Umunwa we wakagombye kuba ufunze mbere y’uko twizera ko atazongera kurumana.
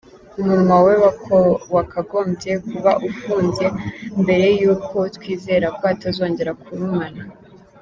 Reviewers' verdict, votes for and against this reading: rejected, 1, 2